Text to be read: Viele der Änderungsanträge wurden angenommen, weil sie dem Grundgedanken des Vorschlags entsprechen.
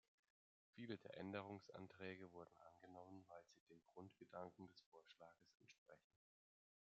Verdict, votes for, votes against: rejected, 1, 2